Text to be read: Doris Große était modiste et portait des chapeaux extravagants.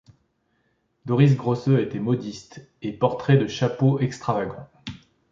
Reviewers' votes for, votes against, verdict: 1, 2, rejected